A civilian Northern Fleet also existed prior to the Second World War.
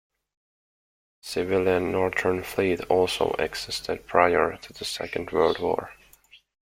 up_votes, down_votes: 2, 0